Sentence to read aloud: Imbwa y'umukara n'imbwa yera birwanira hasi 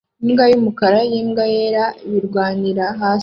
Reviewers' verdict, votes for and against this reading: rejected, 0, 2